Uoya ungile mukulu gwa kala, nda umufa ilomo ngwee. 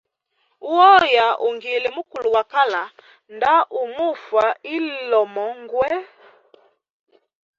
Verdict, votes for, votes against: accepted, 2, 0